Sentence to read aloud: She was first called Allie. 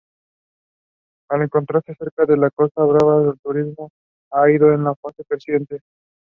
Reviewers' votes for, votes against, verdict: 0, 2, rejected